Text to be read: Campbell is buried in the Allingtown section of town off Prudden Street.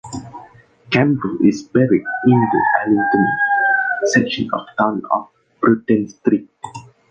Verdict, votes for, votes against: accepted, 2, 0